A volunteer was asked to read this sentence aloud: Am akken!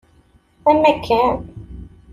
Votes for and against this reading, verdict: 2, 0, accepted